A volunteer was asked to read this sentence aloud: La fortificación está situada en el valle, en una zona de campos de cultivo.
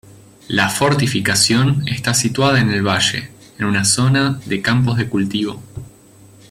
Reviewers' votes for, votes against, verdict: 2, 1, accepted